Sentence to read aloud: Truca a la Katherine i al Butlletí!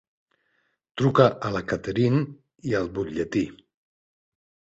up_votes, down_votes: 3, 1